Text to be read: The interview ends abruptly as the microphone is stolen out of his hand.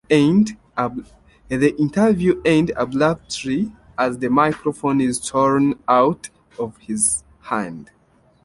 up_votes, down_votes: 0, 2